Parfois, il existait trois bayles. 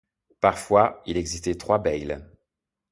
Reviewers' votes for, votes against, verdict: 2, 1, accepted